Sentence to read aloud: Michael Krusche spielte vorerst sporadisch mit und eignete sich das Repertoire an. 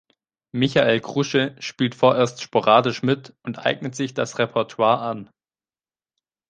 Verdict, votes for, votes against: rejected, 1, 3